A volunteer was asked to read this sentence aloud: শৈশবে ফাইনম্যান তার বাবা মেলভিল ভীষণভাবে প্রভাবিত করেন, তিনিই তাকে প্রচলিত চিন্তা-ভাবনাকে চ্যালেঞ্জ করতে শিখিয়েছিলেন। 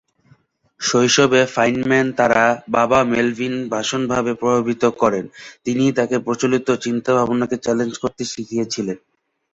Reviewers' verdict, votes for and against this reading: rejected, 0, 3